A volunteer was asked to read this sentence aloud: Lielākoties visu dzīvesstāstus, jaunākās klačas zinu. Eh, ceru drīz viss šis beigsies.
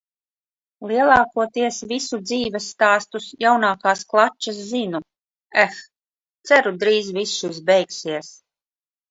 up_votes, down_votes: 2, 0